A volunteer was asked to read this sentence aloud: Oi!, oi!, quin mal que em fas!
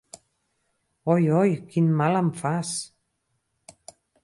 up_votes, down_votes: 0, 4